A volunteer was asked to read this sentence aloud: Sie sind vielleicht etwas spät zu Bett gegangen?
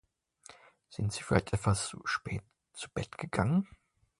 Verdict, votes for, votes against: rejected, 0, 2